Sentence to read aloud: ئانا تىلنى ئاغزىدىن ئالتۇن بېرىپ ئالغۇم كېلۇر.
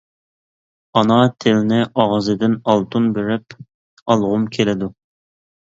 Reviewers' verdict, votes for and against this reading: rejected, 0, 2